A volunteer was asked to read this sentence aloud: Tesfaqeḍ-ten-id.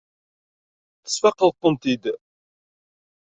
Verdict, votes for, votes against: rejected, 1, 3